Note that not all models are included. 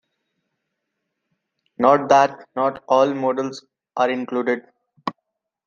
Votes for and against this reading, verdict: 2, 0, accepted